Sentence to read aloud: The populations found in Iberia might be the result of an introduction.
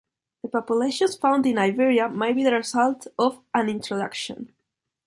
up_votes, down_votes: 2, 0